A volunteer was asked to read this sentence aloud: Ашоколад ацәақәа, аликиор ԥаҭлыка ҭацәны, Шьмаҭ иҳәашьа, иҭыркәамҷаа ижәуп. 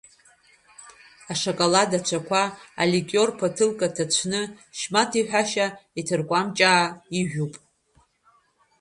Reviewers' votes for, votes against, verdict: 1, 2, rejected